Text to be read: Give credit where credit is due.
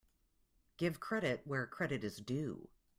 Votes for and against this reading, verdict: 2, 0, accepted